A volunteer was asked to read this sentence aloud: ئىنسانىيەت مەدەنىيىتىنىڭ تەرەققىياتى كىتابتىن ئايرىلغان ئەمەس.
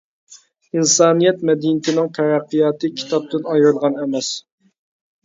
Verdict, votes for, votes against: accepted, 2, 0